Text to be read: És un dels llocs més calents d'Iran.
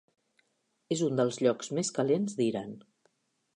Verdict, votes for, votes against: accepted, 4, 0